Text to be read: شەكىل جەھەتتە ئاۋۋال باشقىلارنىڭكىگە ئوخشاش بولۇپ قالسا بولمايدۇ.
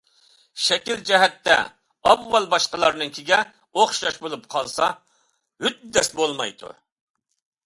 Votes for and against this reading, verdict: 0, 2, rejected